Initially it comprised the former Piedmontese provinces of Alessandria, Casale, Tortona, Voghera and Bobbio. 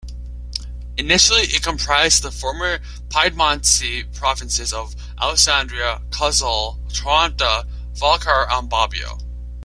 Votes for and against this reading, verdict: 0, 2, rejected